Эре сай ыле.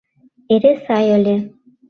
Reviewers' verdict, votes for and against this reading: accepted, 2, 0